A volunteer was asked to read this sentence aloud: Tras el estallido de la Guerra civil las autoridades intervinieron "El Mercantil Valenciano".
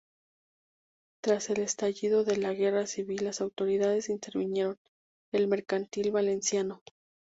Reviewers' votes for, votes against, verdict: 0, 2, rejected